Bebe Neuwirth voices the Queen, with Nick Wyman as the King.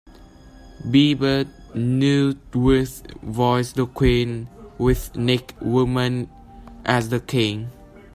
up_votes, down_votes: 0, 2